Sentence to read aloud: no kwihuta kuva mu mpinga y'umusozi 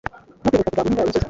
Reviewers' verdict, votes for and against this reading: rejected, 1, 2